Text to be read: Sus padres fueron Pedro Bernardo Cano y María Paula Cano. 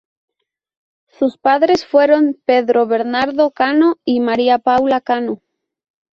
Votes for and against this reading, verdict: 0, 2, rejected